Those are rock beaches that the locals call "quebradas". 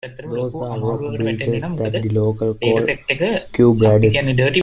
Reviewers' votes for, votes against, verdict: 0, 2, rejected